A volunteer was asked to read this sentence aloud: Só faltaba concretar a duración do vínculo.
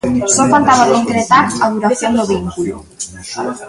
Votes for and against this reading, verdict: 0, 2, rejected